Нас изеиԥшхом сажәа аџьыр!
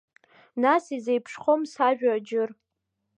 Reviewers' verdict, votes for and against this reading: accepted, 2, 1